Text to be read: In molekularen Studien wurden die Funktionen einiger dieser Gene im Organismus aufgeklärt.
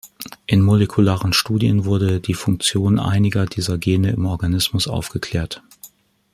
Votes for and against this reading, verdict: 1, 2, rejected